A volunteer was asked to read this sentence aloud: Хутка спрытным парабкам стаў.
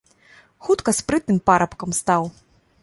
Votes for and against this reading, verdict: 2, 0, accepted